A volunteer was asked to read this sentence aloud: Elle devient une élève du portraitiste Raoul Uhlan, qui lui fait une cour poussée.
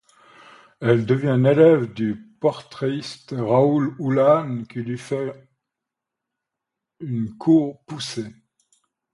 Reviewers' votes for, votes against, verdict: 2, 1, accepted